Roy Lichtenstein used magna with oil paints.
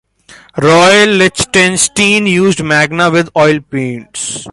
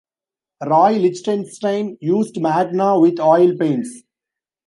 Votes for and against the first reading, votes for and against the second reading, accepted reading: 2, 0, 0, 2, first